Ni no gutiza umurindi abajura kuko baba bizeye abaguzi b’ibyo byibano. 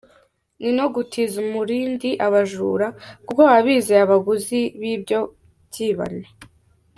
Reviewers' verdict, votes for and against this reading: accepted, 2, 0